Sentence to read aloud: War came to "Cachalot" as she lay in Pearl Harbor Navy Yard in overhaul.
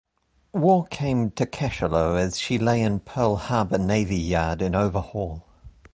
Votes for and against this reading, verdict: 2, 0, accepted